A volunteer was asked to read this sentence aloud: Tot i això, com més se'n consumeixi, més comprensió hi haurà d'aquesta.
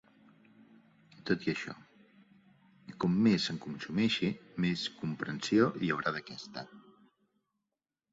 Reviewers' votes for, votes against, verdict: 2, 0, accepted